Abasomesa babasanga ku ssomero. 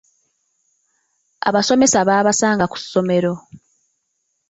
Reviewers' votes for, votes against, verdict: 3, 0, accepted